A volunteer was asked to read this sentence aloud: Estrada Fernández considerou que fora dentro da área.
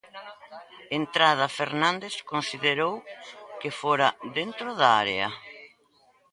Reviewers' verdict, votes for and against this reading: rejected, 0, 2